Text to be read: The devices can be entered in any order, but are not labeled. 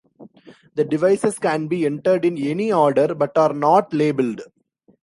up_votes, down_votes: 2, 0